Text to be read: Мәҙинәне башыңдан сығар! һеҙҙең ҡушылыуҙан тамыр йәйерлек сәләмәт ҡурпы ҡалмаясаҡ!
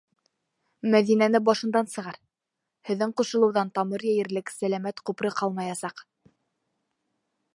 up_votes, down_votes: 1, 2